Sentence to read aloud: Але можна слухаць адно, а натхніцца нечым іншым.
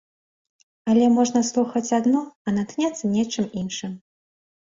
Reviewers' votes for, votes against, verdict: 0, 2, rejected